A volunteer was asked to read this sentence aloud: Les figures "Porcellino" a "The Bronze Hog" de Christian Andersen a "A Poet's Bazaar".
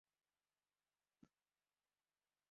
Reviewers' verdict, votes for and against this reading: rejected, 0, 2